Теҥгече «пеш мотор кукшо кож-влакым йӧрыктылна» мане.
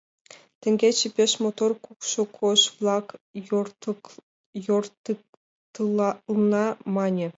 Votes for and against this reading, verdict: 0, 2, rejected